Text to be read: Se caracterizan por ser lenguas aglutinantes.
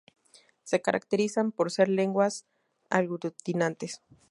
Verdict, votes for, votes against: rejected, 0, 2